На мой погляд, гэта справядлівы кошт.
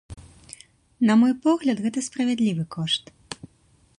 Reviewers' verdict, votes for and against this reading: accepted, 2, 0